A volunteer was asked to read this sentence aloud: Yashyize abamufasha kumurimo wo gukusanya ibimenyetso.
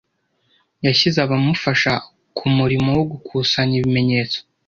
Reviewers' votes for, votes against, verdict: 1, 2, rejected